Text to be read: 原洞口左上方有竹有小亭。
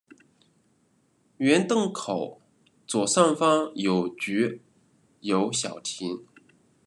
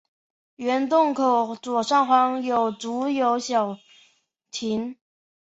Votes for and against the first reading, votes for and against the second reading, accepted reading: 1, 2, 5, 0, second